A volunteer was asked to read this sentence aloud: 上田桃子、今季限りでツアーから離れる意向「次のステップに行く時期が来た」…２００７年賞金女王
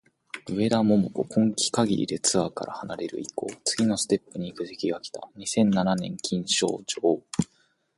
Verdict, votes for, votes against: rejected, 0, 2